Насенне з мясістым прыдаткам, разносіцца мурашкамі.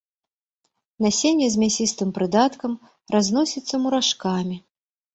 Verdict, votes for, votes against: rejected, 1, 2